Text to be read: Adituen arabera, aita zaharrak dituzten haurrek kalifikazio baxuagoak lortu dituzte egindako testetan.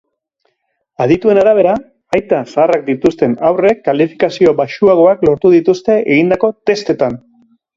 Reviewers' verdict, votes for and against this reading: accepted, 2, 0